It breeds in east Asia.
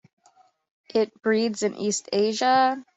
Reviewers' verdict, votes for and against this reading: accepted, 2, 0